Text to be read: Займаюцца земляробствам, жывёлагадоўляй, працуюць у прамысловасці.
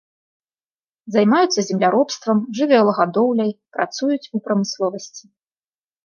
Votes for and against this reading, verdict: 2, 0, accepted